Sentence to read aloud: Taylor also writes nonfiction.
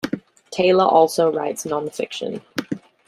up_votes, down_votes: 2, 0